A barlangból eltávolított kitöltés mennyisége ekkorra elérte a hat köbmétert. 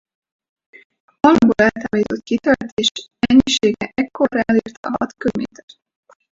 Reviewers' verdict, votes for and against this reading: rejected, 0, 2